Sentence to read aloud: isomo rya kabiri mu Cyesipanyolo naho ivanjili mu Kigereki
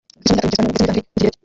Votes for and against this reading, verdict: 1, 2, rejected